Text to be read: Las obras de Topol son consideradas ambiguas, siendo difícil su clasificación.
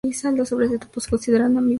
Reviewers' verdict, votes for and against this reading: rejected, 0, 2